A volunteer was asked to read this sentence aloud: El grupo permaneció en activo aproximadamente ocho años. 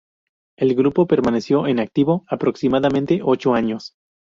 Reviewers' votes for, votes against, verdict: 2, 0, accepted